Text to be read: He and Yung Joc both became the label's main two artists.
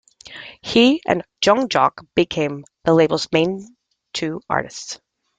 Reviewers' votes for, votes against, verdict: 1, 2, rejected